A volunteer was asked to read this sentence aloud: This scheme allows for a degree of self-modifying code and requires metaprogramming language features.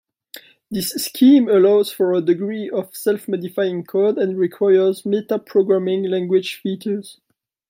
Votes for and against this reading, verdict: 2, 0, accepted